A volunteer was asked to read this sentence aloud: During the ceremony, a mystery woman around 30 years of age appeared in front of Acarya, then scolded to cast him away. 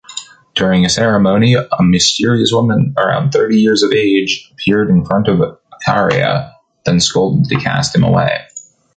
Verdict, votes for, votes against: rejected, 0, 2